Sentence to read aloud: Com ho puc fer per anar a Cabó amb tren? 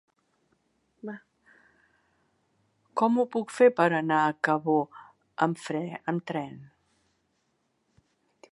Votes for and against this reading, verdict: 0, 2, rejected